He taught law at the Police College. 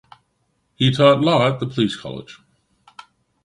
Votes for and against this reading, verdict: 1, 2, rejected